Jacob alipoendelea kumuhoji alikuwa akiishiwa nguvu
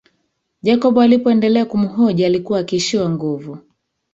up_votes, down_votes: 1, 2